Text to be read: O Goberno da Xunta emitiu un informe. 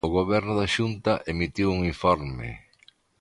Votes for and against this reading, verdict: 2, 0, accepted